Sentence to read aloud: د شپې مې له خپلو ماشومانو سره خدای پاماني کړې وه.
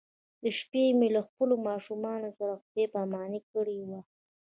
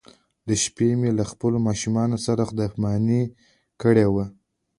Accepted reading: second